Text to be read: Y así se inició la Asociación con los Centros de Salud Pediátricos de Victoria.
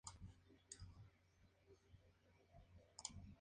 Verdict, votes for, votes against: rejected, 0, 4